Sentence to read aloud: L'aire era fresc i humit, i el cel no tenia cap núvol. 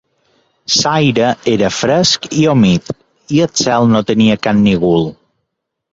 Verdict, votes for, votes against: rejected, 1, 2